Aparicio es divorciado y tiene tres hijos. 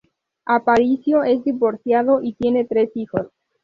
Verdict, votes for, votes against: accepted, 2, 0